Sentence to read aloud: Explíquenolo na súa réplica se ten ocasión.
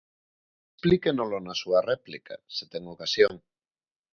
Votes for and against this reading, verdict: 0, 2, rejected